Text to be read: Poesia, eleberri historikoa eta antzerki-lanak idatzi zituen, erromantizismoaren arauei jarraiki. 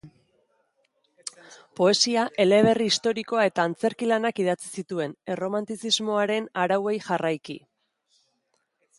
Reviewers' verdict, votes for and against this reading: accepted, 2, 0